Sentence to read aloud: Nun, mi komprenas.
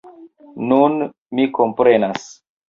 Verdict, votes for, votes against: accepted, 2, 0